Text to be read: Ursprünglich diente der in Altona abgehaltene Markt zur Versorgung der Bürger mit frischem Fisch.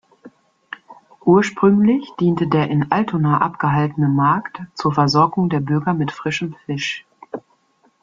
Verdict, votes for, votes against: accepted, 2, 0